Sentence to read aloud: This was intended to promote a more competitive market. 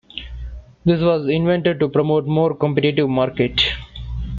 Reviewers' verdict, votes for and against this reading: accepted, 2, 1